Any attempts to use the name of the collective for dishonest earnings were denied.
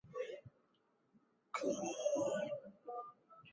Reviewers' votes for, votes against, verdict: 0, 2, rejected